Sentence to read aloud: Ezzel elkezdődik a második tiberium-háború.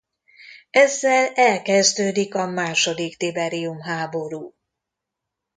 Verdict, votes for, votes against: accepted, 2, 0